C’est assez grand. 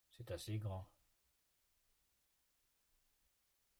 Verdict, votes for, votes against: rejected, 0, 2